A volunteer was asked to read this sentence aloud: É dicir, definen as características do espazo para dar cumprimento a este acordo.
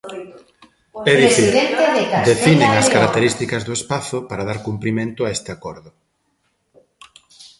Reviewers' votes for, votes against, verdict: 0, 2, rejected